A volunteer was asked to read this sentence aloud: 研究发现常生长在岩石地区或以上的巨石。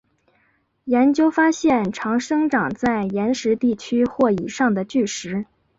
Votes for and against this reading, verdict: 7, 1, accepted